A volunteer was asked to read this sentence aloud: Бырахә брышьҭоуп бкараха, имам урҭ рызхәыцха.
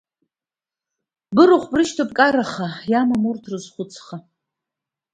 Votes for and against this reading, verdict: 2, 1, accepted